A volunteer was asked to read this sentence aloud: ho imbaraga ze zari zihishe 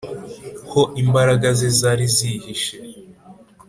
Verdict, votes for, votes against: accepted, 5, 0